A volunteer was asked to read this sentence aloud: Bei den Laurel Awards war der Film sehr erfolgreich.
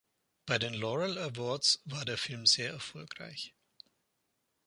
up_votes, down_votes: 2, 0